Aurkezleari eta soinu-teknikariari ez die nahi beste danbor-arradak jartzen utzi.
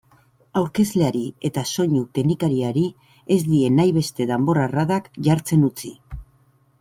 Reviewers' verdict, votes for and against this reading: accepted, 2, 0